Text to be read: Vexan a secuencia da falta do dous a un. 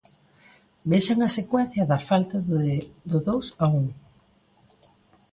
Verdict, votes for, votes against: rejected, 0, 2